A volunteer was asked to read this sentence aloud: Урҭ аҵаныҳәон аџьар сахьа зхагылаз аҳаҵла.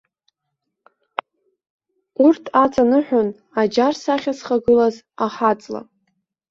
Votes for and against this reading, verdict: 2, 0, accepted